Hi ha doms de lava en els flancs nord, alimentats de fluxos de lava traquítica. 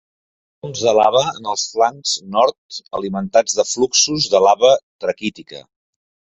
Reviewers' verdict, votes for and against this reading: rejected, 0, 2